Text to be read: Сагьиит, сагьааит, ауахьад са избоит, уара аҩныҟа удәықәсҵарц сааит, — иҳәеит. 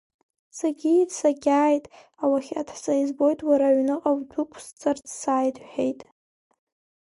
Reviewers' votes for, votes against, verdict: 2, 1, accepted